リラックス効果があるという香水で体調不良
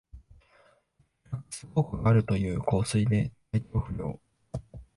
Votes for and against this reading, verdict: 1, 2, rejected